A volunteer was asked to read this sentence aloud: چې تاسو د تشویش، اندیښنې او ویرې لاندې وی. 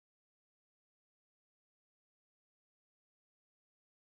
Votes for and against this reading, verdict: 0, 2, rejected